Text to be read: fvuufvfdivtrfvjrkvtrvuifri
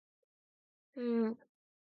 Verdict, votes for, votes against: rejected, 0, 2